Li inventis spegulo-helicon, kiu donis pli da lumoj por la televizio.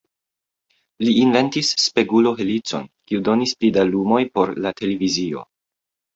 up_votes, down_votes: 2, 1